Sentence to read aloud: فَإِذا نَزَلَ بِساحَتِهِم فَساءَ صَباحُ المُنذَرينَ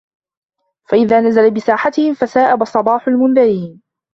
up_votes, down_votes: 1, 3